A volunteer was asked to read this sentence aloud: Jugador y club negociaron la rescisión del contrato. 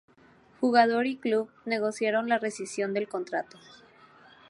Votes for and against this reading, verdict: 2, 0, accepted